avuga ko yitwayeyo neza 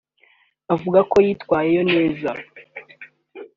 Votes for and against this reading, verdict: 2, 0, accepted